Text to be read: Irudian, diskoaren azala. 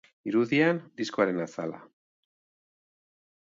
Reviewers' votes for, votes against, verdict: 3, 0, accepted